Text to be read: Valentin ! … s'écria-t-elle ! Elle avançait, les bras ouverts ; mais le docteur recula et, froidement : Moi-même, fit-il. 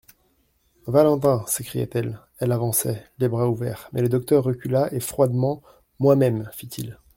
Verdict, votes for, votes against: accepted, 2, 0